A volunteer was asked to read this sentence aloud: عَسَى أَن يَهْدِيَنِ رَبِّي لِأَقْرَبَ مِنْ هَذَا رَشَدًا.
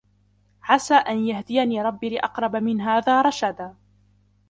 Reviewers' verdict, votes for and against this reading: accepted, 2, 0